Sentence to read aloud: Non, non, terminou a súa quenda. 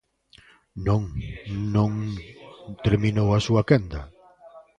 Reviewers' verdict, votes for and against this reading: rejected, 0, 2